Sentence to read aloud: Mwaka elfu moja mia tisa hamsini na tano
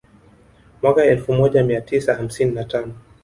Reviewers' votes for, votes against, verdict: 1, 2, rejected